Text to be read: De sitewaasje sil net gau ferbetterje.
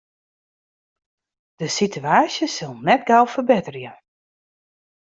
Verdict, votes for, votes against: accepted, 2, 0